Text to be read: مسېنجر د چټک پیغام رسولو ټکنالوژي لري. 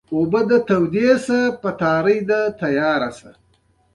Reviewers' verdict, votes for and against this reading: rejected, 1, 2